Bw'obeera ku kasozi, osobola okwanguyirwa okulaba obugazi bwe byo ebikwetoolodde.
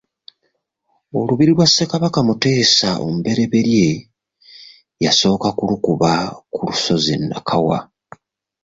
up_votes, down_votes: 0, 2